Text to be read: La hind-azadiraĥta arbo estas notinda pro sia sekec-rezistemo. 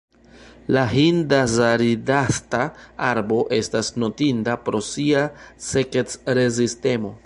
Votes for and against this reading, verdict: 0, 2, rejected